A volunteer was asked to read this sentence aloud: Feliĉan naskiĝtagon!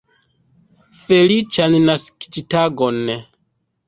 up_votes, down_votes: 1, 2